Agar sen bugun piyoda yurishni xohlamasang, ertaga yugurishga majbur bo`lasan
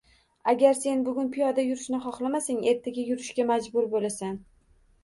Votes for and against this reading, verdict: 1, 2, rejected